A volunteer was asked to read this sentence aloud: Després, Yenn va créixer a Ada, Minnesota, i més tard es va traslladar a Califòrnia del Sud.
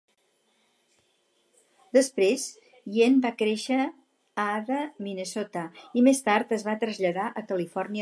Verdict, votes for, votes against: rejected, 0, 4